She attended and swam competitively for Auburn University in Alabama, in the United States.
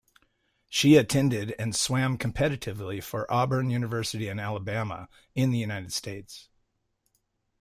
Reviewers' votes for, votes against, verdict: 2, 0, accepted